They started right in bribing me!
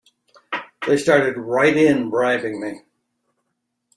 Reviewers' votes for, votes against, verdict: 2, 0, accepted